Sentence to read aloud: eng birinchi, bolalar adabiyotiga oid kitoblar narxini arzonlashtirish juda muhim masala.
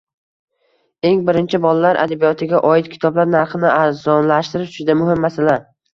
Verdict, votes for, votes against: rejected, 1, 2